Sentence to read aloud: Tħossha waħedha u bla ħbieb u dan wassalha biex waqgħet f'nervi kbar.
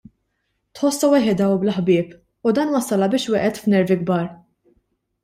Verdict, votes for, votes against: accepted, 2, 0